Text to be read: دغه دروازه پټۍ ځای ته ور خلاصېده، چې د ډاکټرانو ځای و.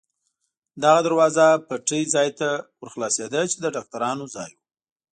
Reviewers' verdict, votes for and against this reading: accepted, 2, 0